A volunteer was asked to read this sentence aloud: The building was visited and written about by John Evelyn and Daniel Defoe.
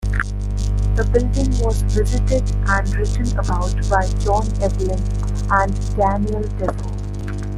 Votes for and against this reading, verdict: 2, 0, accepted